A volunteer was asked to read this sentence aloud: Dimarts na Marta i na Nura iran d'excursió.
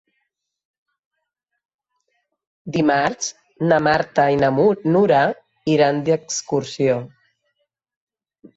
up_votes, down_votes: 0, 2